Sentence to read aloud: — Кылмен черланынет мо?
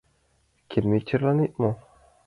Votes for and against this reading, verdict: 1, 2, rejected